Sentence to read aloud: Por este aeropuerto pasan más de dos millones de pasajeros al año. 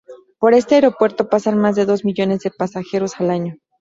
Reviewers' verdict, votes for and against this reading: accepted, 2, 0